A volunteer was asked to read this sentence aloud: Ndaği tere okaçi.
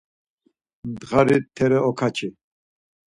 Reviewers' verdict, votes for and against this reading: rejected, 2, 4